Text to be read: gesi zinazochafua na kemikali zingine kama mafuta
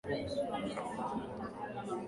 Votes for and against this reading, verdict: 0, 2, rejected